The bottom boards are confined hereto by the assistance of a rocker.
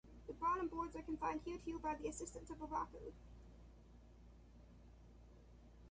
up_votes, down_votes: 1, 2